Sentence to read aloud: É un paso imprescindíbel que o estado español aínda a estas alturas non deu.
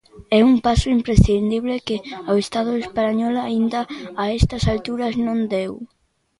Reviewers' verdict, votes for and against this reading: rejected, 0, 2